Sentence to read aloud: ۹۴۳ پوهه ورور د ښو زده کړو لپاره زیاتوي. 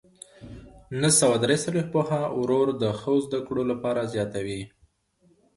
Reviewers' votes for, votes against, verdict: 0, 2, rejected